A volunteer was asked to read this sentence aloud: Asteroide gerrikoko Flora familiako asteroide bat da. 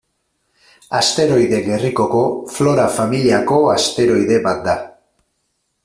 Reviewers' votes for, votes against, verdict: 4, 0, accepted